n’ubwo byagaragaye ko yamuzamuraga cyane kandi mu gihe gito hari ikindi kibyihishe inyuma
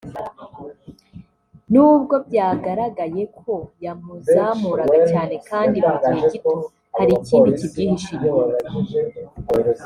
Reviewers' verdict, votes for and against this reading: accepted, 2, 0